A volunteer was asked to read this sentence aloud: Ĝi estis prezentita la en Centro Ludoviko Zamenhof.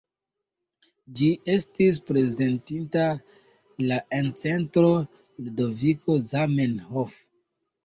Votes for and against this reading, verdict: 2, 0, accepted